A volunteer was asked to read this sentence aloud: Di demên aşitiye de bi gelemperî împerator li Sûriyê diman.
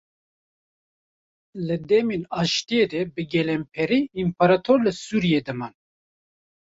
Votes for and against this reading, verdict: 1, 2, rejected